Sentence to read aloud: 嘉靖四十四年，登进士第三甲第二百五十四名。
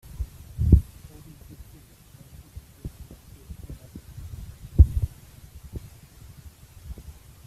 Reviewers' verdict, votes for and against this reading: rejected, 0, 2